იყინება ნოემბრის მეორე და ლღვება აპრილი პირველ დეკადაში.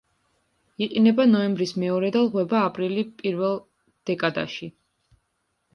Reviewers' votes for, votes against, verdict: 0, 2, rejected